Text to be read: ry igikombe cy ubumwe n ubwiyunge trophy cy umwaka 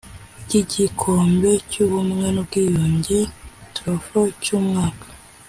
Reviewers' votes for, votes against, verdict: 2, 0, accepted